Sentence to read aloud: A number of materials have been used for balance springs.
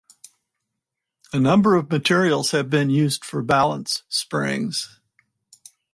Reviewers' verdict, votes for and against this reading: accepted, 4, 0